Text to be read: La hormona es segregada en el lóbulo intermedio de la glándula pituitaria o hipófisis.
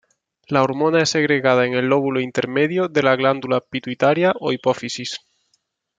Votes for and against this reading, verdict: 2, 0, accepted